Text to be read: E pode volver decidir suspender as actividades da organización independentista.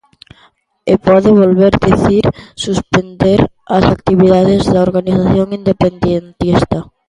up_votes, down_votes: 0, 2